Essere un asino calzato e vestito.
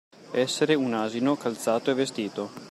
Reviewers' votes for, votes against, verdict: 2, 0, accepted